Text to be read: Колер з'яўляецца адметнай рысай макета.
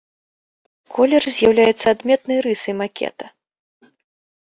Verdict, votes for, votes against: accepted, 2, 0